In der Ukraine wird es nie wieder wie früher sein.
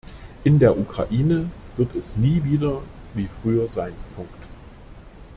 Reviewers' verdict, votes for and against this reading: rejected, 1, 2